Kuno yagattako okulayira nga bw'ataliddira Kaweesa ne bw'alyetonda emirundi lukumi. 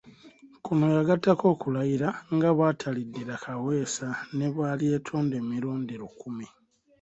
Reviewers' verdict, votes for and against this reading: accepted, 2, 1